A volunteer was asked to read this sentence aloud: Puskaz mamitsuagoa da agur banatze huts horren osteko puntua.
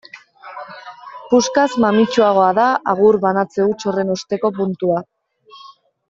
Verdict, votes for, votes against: rejected, 1, 2